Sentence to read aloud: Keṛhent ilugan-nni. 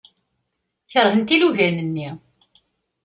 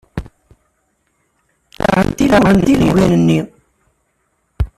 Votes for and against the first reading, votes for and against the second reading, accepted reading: 2, 0, 0, 2, first